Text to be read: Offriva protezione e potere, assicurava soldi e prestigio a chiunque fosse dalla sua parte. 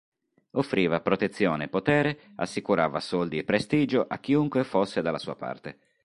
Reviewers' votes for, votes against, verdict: 2, 0, accepted